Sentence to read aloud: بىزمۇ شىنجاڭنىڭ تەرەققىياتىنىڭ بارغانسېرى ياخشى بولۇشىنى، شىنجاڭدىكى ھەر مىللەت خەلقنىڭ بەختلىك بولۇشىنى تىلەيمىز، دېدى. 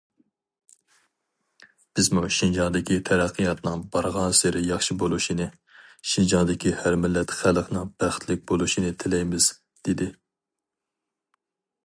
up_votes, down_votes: 0, 2